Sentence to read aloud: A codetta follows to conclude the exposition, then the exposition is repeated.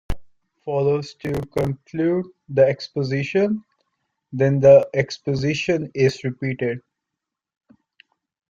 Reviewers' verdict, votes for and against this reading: rejected, 0, 2